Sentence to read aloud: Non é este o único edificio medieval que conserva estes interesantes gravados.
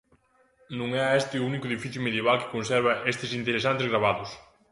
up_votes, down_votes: 2, 0